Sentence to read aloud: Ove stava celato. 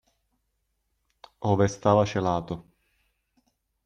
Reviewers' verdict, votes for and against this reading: accepted, 2, 0